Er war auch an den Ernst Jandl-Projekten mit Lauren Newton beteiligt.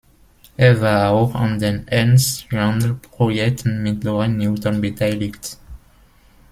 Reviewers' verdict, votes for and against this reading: rejected, 0, 2